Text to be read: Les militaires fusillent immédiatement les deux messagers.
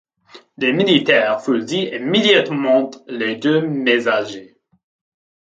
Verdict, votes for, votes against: rejected, 1, 2